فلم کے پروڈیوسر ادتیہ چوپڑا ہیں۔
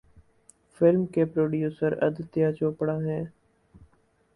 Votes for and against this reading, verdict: 4, 0, accepted